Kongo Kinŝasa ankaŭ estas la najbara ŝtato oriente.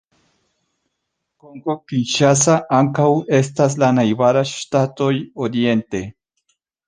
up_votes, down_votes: 0, 2